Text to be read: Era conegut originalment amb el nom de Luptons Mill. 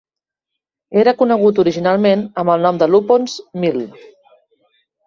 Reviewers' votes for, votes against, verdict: 0, 2, rejected